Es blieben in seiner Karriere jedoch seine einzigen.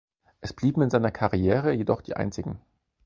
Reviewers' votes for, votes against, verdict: 0, 4, rejected